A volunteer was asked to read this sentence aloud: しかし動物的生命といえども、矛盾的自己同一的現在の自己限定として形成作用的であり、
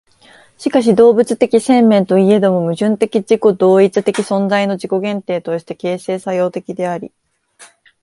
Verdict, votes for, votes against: rejected, 1, 2